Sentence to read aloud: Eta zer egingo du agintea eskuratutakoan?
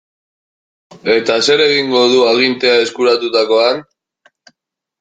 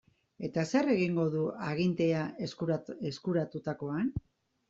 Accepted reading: first